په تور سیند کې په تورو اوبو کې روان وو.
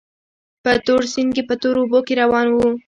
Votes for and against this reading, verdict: 2, 0, accepted